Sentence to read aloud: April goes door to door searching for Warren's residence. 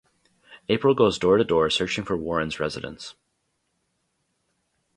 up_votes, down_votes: 4, 0